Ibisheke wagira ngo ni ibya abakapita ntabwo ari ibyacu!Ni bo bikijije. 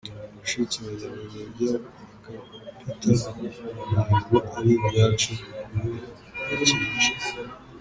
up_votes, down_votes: 1, 2